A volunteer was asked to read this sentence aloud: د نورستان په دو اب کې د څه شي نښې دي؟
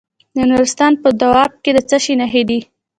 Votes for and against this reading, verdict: 2, 0, accepted